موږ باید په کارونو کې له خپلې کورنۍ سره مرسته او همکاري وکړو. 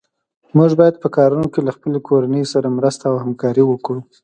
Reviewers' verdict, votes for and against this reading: accepted, 3, 0